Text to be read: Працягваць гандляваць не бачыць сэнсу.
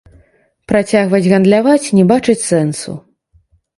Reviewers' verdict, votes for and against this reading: rejected, 0, 2